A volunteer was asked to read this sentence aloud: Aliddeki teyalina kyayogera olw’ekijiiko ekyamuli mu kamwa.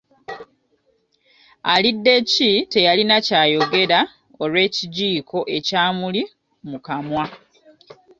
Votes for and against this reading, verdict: 2, 1, accepted